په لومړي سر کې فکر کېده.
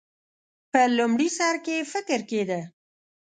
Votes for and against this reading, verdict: 2, 0, accepted